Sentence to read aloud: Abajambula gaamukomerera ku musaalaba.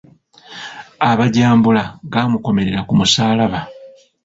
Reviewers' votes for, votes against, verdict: 1, 2, rejected